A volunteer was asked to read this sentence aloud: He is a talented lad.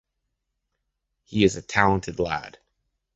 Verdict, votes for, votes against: accepted, 2, 0